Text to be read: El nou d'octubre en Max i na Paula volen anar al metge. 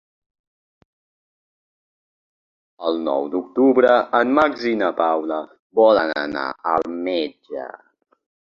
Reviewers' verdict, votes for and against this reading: rejected, 0, 2